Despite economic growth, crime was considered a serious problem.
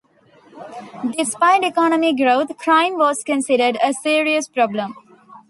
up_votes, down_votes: 2, 0